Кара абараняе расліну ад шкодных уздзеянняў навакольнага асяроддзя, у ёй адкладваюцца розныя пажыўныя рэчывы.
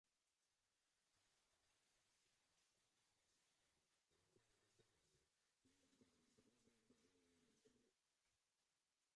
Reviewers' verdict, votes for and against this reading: rejected, 0, 2